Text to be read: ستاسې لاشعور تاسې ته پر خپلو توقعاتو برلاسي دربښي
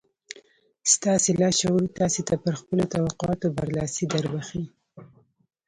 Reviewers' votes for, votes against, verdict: 0, 2, rejected